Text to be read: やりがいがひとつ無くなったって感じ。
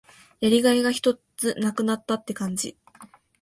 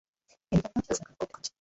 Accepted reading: first